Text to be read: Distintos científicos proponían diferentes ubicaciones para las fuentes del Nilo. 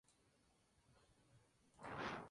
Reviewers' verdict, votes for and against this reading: rejected, 0, 2